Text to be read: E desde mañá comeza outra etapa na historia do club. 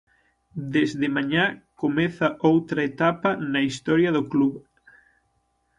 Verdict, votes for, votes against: rejected, 0, 6